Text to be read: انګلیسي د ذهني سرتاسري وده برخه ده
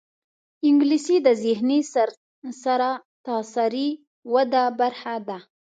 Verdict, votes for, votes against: rejected, 1, 2